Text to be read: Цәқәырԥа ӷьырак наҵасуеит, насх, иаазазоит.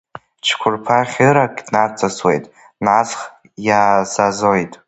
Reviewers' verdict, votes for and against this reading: rejected, 1, 2